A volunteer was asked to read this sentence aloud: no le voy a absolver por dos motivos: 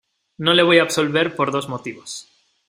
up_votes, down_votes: 2, 0